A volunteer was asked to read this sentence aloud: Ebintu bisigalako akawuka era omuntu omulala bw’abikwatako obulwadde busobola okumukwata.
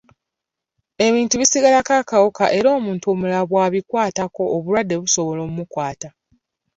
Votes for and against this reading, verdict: 2, 0, accepted